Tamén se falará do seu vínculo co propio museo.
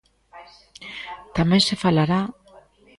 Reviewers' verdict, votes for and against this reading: rejected, 0, 2